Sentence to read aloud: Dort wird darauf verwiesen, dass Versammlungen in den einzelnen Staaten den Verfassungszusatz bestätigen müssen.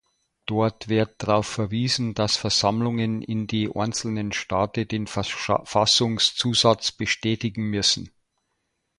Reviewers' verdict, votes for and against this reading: rejected, 1, 2